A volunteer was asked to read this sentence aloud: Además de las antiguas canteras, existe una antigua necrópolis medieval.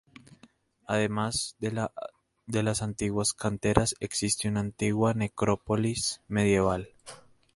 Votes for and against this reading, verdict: 0, 2, rejected